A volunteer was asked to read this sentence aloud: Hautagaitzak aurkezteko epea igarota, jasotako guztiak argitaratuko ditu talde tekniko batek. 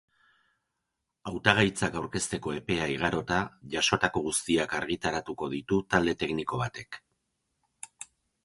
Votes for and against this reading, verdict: 2, 0, accepted